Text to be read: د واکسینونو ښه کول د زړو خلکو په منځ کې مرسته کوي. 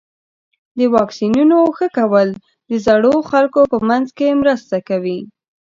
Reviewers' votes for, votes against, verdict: 2, 0, accepted